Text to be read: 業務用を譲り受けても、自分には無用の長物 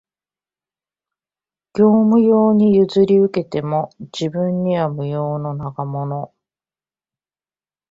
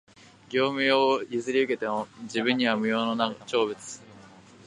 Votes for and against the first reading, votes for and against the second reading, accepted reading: 0, 2, 2, 1, second